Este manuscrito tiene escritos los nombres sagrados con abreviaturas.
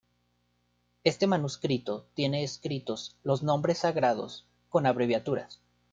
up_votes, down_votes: 2, 0